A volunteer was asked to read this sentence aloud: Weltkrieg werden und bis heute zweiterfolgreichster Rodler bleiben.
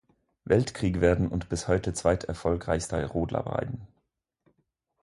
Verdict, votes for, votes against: rejected, 2, 4